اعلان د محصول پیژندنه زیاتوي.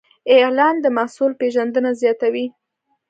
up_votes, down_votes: 2, 0